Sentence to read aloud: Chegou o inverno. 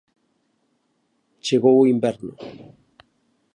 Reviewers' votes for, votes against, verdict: 2, 0, accepted